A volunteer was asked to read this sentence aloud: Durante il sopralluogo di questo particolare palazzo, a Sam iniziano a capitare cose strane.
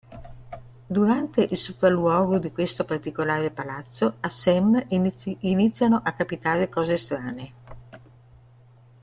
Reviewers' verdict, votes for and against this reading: rejected, 1, 2